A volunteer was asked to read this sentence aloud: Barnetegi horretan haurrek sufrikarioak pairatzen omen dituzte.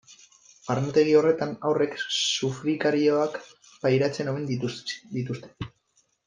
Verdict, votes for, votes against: rejected, 0, 2